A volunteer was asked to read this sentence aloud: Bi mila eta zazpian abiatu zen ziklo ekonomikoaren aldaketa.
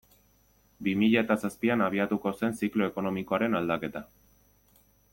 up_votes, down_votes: 1, 2